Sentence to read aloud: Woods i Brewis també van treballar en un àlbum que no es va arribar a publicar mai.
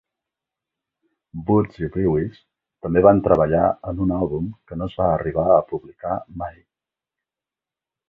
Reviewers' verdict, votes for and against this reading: accepted, 3, 0